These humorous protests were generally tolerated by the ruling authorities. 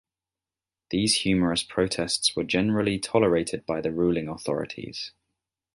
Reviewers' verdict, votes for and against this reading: accepted, 2, 0